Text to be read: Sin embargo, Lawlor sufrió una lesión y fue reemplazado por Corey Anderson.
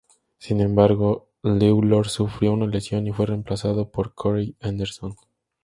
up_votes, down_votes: 2, 0